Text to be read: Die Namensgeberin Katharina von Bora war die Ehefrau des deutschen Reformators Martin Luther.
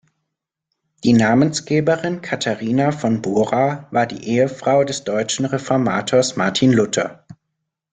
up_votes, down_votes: 2, 0